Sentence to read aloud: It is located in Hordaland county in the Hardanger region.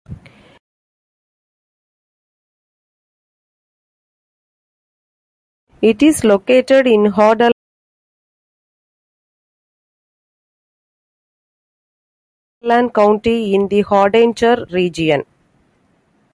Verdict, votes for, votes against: rejected, 0, 2